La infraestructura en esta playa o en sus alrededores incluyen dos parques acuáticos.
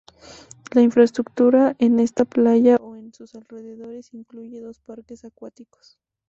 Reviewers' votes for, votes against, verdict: 0, 2, rejected